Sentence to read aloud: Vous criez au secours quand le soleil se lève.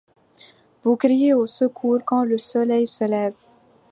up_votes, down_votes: 2, 0